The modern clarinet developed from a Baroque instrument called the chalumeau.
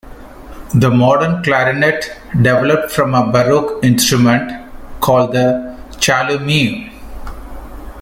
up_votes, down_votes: 1, 2